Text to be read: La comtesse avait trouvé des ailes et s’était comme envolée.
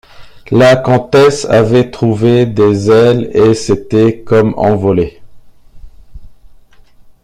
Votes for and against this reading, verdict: 2, 0, accepted